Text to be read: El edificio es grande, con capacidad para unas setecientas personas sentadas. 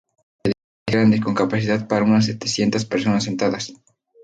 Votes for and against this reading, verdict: 0, 2, rejected